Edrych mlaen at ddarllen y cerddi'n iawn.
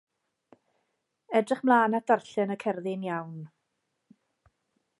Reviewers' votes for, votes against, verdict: 2, 0, accepted